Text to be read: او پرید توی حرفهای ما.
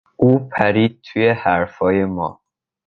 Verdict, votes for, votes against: accepted, 2, 0